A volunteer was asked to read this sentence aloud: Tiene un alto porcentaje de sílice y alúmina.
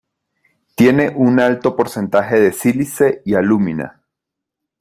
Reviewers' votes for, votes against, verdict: 2, 0, accepted